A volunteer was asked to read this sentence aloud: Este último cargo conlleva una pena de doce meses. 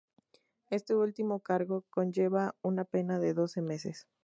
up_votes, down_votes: 2, 0